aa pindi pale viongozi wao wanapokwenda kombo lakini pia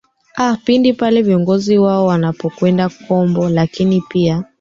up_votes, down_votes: 0, 2